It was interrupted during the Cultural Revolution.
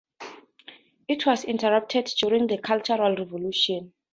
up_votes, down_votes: 2, 0